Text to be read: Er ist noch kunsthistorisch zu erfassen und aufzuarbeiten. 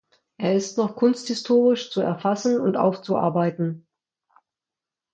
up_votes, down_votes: 2, 0